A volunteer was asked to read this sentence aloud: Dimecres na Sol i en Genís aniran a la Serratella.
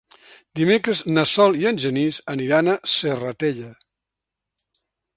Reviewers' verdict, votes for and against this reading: rejected, 1, 2